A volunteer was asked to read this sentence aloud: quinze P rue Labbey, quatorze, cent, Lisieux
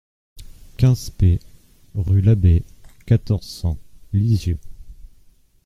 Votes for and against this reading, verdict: 2, 0, accepted